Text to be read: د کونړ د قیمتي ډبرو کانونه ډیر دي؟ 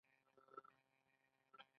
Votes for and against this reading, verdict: 2, 1, accepted